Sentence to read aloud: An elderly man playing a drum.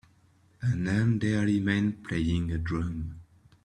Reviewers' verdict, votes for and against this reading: accepted, 2, 0